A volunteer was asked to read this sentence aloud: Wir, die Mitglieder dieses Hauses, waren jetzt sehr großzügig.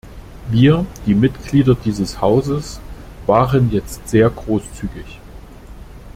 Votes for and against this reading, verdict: 2, 0, accepted